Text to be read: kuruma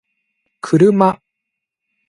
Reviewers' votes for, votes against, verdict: 2, 1, accepted